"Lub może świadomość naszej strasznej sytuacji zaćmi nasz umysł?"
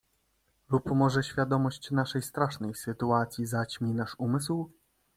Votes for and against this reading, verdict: 2, 0, accepted